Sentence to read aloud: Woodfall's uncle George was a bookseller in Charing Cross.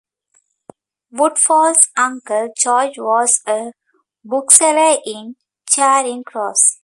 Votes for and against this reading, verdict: 2, 0, accepted